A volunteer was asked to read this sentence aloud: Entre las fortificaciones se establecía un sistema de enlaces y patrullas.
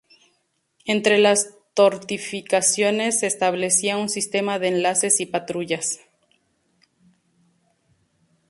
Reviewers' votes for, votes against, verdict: 0, 2, rejected